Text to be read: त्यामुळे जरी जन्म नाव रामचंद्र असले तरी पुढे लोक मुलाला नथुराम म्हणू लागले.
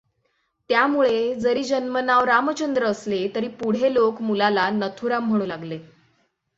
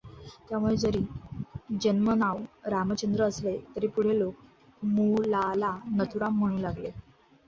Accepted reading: first